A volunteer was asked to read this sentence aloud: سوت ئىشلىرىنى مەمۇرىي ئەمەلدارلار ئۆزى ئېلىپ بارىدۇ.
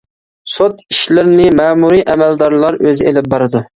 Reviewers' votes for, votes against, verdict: 2, 0, accepted